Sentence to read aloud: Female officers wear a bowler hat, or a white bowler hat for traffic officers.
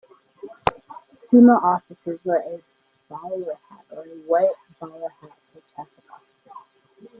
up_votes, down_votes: 0, 2